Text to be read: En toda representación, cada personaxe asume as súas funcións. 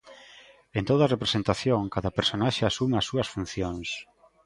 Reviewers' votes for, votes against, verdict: 2, 1, accepted